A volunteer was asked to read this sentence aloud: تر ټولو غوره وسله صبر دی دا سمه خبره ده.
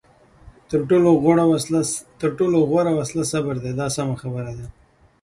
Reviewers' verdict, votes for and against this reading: accepted, 2, 0